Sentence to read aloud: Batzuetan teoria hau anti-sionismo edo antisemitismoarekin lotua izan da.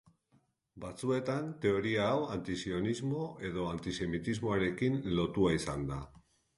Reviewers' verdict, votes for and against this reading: accepted, 2, 0